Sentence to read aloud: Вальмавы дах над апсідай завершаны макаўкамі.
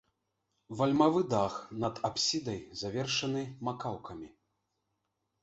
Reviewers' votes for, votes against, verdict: 0, 2, rejected